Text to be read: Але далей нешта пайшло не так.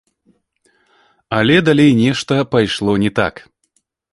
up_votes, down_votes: 2, 1